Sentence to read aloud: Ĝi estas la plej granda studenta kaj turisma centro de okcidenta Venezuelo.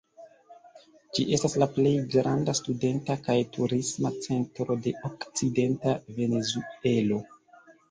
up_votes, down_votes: 0, 2